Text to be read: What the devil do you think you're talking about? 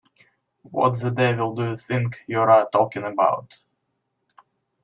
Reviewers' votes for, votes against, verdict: 1, 2, rejected